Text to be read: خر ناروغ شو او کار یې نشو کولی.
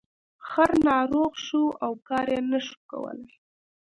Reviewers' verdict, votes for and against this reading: rejected, 1, 2